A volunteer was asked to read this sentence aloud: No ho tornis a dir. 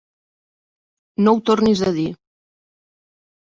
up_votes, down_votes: 3, 0